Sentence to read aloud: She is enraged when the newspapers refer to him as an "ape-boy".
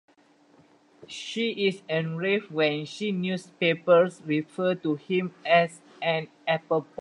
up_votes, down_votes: 0, 2